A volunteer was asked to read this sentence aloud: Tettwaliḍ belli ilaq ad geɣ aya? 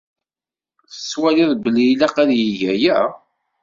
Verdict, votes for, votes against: rejected, 1, 2